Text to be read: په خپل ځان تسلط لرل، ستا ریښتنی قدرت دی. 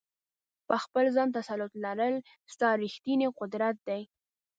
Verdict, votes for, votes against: accepted, 2, 0